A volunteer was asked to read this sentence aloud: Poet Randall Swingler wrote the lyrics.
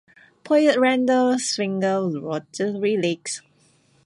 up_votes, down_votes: 0, 2